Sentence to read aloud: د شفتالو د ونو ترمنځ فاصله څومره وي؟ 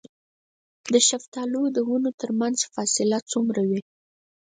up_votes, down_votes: 2, 4